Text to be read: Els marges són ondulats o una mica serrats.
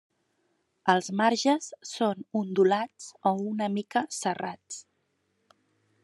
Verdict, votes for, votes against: accepted, 3, 1